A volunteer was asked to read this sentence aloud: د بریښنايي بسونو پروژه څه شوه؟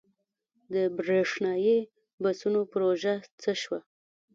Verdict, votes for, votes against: rejected, 0, 2